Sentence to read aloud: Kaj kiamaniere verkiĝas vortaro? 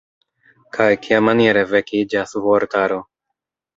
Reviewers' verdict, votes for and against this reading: rejected, 0, 2